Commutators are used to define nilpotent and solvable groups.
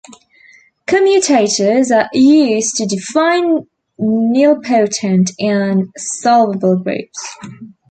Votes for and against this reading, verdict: 2, 0, accepted